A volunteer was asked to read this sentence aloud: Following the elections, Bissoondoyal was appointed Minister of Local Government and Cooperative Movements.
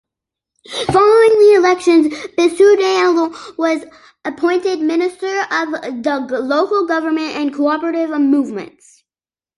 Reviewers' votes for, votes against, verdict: 0, 2, rejected